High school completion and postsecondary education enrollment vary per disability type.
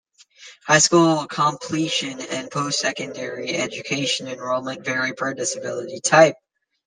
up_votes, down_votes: 2, 0